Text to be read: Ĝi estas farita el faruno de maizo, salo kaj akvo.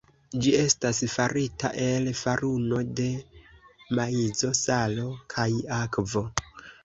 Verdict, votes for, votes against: accepted, 2, 0